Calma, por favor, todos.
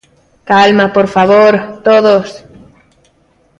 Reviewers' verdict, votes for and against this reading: accepted, 2, 0